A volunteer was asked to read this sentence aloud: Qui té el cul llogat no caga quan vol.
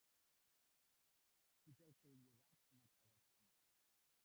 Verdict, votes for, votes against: rejected, 0, 2